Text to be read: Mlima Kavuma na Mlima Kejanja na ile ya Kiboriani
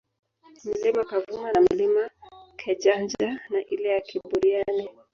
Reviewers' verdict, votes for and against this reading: rejected, 1, 2